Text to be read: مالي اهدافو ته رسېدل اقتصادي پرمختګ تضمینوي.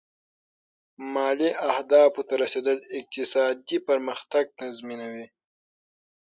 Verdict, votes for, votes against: accepted, 6, 0